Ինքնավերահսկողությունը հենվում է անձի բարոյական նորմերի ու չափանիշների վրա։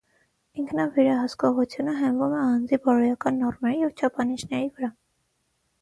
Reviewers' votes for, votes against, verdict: 6, 0, accepted